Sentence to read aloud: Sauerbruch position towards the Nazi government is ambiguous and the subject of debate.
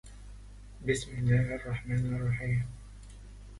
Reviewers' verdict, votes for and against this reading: rejected, 0, 2